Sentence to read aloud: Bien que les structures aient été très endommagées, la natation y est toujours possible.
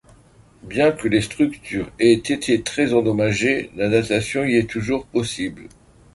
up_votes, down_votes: 2, 0